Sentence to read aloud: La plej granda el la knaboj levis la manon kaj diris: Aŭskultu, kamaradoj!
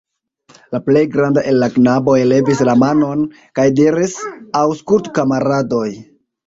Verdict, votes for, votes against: accepted, 2, 1